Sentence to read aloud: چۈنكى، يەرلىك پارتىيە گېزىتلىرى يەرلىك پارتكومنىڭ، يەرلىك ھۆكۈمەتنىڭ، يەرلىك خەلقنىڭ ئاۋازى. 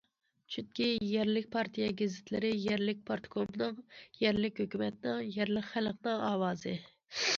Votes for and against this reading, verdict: 2, 0, accepted